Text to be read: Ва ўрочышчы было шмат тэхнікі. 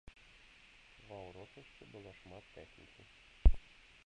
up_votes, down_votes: 0, 2